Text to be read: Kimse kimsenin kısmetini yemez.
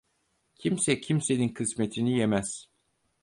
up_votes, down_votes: 4, 0